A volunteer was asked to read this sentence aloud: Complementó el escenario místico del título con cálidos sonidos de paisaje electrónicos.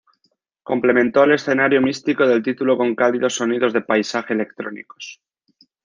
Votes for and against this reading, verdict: 2, 0, accepted